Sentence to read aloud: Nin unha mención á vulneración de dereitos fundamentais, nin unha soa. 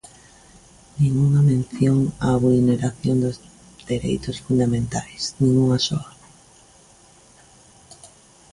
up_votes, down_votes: 0, 2